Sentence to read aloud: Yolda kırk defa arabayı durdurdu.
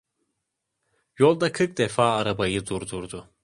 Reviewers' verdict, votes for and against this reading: accepted, 2, 0